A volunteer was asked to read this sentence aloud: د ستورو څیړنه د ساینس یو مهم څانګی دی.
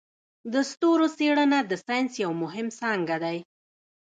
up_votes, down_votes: 1, 2